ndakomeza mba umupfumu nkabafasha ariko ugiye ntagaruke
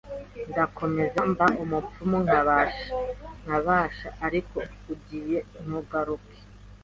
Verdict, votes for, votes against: rejected, 1, 2